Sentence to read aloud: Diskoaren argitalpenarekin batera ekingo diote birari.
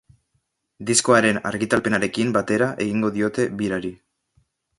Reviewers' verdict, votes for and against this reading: rejected, 0, 2